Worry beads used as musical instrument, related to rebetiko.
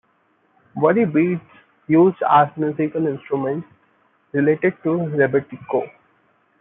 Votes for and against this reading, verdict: 2, 0, accepted